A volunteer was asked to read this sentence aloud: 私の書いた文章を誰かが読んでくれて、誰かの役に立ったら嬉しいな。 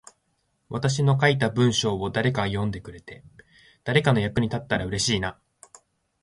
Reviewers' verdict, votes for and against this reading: rejected, 1, 2